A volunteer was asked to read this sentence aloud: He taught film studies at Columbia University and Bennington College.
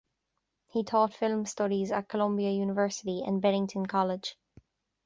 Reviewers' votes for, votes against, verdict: 2, 0, accepted